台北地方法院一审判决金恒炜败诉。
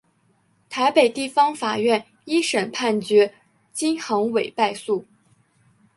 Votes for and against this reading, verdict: 2, 1, accepted